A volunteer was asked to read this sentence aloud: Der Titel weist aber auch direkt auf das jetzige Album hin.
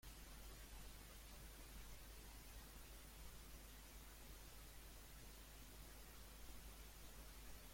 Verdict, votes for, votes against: rejected, 0, 2